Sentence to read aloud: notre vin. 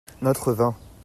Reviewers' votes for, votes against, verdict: 2, 0, accepted